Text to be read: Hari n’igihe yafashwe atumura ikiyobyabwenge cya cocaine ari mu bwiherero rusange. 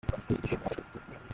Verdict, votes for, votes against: rejected, 0, 2